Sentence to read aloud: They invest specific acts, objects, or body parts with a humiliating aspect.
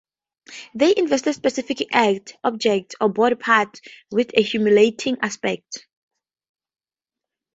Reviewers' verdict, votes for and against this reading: accepted, 4, 0